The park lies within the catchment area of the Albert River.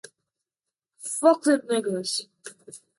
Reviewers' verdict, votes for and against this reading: rejected, 0, 2